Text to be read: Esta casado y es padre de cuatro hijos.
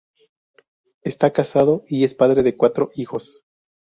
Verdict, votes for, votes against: accepted, 2, 0